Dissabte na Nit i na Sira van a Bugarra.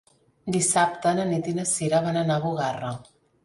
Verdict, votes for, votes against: rejected, 1, 2